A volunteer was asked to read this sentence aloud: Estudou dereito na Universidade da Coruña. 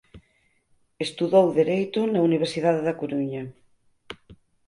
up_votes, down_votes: 6, 0